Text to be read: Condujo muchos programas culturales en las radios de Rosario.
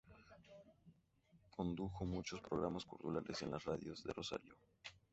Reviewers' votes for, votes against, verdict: 2, 0, accepted